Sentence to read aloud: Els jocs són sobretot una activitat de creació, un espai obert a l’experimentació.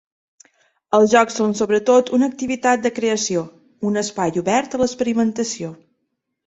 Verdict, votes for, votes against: accepted, 2, 0